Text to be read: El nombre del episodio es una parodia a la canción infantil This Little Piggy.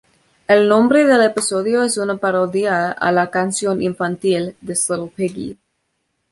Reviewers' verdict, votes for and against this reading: accepted, 2, 1